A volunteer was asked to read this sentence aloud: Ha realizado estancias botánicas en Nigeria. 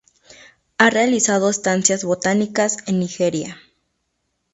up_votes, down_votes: 2, 0